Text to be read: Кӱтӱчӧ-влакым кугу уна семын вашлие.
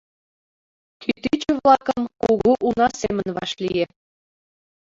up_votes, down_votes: 2, 0